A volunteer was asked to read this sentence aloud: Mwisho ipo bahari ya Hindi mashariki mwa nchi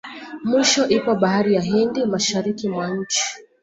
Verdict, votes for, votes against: rejected, 0, 2